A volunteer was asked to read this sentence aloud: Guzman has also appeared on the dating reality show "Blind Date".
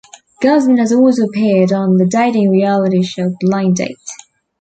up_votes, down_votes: 2, 1